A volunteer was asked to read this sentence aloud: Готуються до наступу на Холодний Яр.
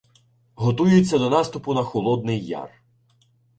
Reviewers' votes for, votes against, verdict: 2, 1, accepted